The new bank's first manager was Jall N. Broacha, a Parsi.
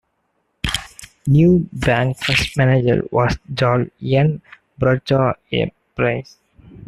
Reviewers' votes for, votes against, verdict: 0, 2, rejected